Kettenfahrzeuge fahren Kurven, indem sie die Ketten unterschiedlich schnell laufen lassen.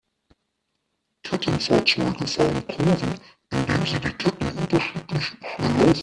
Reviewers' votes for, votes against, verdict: 0, 2, rejected